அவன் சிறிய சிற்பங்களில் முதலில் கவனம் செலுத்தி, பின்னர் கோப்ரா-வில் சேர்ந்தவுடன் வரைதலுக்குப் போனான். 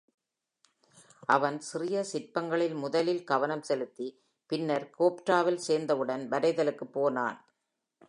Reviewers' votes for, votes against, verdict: 2, 0, accepted